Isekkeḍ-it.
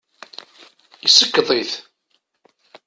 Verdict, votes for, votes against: accepted, 2, 0